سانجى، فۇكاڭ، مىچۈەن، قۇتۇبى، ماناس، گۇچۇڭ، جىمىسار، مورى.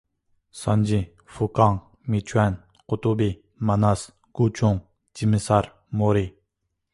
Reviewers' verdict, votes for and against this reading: accepted, 3, 0